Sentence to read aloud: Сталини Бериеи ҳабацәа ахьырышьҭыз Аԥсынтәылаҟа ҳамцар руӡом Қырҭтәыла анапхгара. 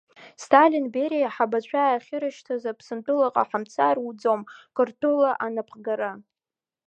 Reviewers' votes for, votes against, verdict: 1, 2, rejected